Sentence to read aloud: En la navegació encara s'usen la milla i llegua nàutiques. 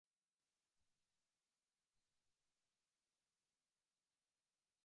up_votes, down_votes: 0, 2